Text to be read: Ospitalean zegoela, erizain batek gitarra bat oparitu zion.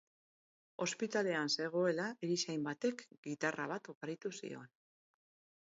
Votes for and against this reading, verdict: 0, 2, rejected